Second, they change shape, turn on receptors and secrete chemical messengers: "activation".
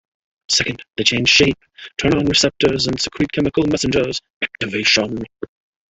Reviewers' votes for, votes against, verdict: 3, 1, accepted